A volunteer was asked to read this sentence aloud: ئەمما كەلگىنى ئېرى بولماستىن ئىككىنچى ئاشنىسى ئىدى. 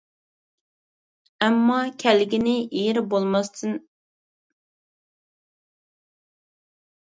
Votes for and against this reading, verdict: 0, 2, rejected